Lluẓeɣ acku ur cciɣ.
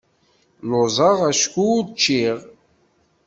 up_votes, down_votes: 0, 2